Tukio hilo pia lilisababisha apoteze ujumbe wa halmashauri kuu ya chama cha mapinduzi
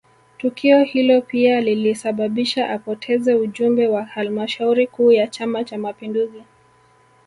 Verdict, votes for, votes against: rejected, 1, 2